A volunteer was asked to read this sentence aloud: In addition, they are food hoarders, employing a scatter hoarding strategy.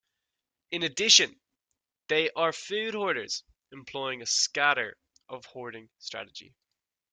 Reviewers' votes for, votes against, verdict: 1, 2, rejected